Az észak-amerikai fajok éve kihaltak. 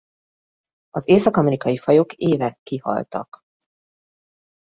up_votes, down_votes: 2, 1